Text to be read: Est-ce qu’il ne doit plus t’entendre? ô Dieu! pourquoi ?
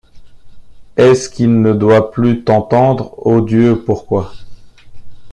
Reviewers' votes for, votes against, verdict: 2, 1, accepted